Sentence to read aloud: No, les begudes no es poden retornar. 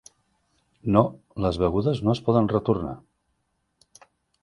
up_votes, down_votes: 2, 0